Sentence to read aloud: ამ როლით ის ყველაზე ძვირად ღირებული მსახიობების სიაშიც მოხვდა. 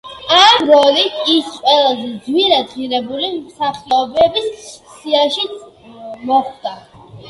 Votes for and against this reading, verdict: 1, 2, rejected